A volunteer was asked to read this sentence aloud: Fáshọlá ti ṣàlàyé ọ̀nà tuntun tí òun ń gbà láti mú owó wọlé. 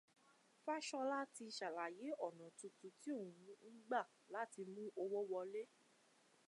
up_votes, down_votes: 2, 0